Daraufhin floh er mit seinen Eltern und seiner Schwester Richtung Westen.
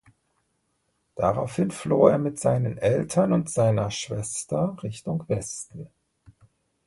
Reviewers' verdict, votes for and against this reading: accepted, 3, 0